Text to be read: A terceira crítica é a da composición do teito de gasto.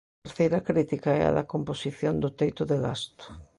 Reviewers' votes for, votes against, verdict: 1, 2, rejected